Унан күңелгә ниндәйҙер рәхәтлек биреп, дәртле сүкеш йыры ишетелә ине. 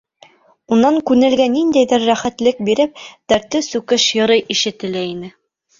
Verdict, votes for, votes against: rejected, 2, 3